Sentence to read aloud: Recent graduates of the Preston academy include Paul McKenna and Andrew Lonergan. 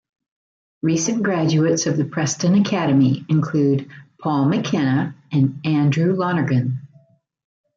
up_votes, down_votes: 0, 2